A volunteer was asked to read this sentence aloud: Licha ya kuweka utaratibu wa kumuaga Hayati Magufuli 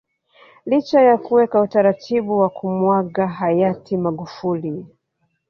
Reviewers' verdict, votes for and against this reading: accepted, 2, 1